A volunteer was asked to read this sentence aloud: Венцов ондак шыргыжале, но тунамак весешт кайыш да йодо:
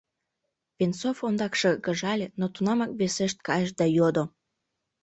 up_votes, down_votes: 2, 0